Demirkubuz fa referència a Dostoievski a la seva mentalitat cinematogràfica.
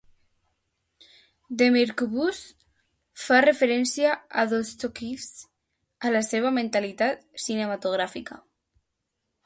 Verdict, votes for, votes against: rejected, 0, 2